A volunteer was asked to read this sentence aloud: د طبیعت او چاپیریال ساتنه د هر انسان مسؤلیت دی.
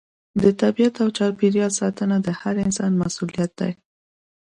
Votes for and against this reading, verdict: 2, 0, accepted